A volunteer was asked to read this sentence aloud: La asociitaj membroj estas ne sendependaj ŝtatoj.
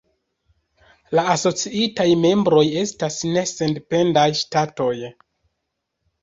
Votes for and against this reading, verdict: 2, 3, rejected